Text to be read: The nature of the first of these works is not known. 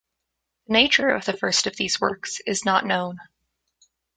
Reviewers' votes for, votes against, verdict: 0, 2, rejected